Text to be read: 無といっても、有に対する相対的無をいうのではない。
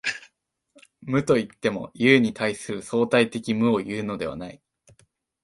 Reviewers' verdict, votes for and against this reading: accepted, 2, 0